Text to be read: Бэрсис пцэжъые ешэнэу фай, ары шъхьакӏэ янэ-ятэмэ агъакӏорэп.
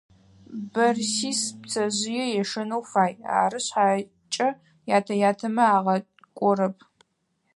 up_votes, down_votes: 2, 4